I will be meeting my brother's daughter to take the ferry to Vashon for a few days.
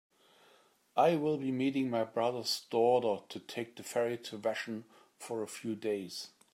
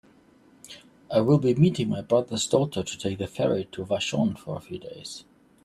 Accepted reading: second